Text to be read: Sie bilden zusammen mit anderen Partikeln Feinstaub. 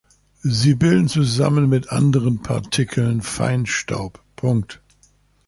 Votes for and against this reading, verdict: 0, 2, rejected